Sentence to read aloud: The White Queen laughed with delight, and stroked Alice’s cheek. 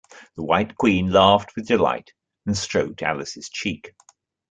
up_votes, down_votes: 2, 0